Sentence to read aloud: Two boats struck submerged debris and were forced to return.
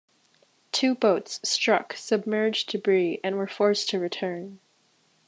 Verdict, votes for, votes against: accepted, 2, 0